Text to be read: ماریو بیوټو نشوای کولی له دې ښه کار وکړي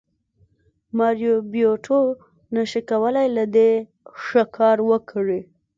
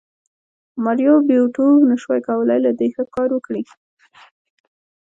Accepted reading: second